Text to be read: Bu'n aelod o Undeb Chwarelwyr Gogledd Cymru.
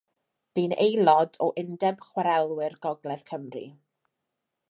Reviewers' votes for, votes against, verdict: 2, 0, accepted